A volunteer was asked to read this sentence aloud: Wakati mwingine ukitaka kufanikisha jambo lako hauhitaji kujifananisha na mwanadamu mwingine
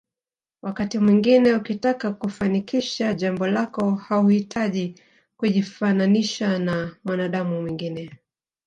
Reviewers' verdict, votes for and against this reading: accepted, 10, 0